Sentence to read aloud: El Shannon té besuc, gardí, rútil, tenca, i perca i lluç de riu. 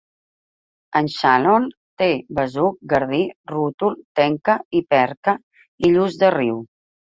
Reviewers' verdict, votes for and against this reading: rejected, 1, 2